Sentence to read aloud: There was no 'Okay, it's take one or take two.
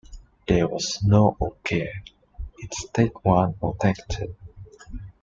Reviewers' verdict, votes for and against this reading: rejected, 1, 2